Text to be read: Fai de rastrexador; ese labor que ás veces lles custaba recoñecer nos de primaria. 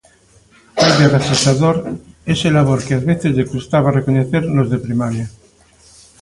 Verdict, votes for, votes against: rejected, 0, 2